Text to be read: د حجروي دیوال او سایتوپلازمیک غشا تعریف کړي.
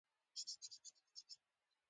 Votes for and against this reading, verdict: 1, 2, rejected